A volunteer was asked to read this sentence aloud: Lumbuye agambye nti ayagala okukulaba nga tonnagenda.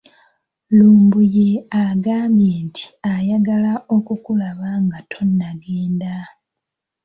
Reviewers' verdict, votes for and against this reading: accepted, 2, 1